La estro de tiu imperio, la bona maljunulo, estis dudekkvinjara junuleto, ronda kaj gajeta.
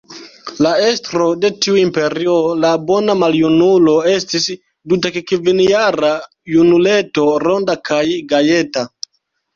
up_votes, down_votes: 1, 2